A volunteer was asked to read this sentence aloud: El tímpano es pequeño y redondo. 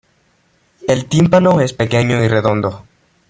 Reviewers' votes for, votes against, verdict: 2, 1, accepted